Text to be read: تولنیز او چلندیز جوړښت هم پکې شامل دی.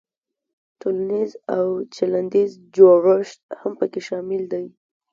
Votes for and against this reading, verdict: 2, 0, accepted